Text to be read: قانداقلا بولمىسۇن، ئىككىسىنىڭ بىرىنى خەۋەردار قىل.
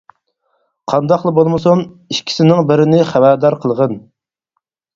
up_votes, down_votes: 0, 4